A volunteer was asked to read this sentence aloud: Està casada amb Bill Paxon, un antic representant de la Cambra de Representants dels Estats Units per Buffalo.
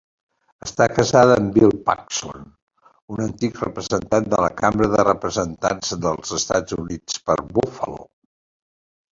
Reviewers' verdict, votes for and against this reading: accepted, 2, 0